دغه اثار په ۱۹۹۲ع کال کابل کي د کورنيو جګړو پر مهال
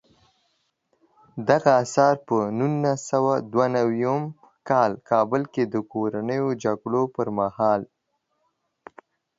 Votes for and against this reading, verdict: 0, 2, rejected